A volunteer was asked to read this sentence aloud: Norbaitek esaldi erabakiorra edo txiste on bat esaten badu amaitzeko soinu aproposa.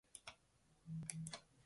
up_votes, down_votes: 0, 2